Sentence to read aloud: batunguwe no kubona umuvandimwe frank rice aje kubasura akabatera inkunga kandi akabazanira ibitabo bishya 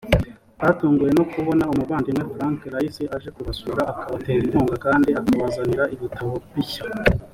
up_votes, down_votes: 2, 0